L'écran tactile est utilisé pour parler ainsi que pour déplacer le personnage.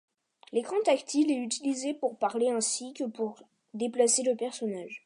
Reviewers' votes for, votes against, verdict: 2, 0, accepted